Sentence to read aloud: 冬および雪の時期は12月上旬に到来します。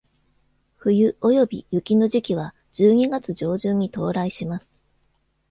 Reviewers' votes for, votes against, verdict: 0, 2, rejected